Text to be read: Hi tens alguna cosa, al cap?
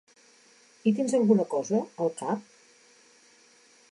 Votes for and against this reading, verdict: 2, 0, accepted